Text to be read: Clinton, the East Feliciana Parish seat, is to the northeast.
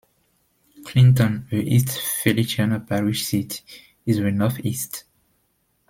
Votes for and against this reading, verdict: 1, 2, rejected